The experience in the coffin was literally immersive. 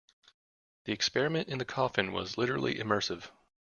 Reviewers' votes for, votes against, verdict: 1, 2, rejected